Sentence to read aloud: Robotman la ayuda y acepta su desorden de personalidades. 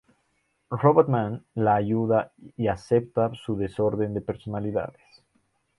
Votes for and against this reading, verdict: 0, 2, rejected